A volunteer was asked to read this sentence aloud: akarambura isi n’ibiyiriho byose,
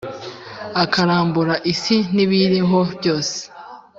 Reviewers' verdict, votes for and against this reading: accepted, 2, 0